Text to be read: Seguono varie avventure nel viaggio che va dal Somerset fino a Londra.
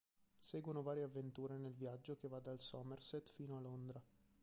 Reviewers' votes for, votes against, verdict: 1, 2, rejected